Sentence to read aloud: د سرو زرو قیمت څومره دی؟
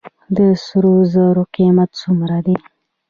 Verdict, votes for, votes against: rejected, 0, 2